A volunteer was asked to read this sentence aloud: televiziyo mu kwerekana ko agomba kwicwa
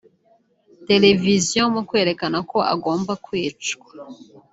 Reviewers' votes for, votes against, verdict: 2, 1, accepted